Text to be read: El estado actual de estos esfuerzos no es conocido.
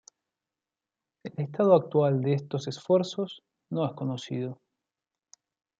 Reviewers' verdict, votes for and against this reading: accepted, 2, 0